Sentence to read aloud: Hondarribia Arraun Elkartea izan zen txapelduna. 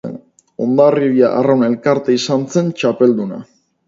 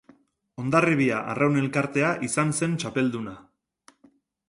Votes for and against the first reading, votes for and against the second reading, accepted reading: 2, 2, 2, 0, second